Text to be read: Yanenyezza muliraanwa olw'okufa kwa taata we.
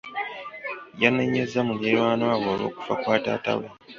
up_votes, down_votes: 1, 2